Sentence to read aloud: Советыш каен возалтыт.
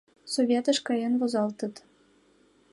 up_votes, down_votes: 2, 0